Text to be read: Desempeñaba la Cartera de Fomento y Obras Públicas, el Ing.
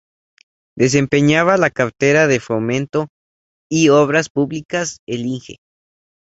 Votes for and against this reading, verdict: 2, 2, rejected